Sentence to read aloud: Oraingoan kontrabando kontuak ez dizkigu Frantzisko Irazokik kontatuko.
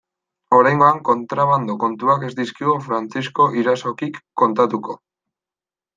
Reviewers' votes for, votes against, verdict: 3, 0, accepted